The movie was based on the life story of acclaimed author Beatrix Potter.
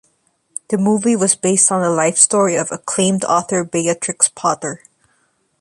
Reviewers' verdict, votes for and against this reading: accepted, 2, 0